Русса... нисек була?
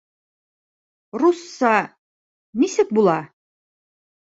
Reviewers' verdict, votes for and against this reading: accepted, 2, 0